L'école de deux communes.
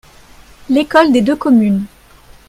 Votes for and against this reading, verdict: 1, 2, rejected